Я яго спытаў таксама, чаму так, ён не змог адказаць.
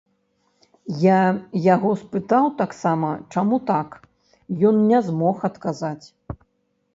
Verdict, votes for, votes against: rejected, 1, 2